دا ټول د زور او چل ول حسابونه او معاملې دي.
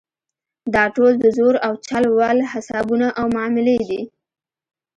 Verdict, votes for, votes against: accepted, 2, 0